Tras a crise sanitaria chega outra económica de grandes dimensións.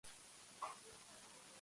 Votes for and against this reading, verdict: 0, 2, rejected